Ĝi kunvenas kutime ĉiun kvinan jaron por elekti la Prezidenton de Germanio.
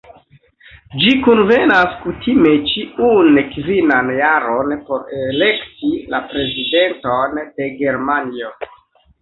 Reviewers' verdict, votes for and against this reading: accepted, 3, 1